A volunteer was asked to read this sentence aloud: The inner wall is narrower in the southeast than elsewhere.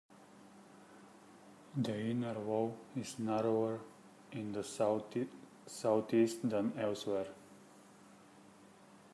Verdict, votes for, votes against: accepted, 2, 1